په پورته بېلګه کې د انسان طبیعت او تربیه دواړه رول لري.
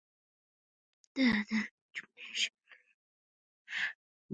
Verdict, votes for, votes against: rejected, 1, 2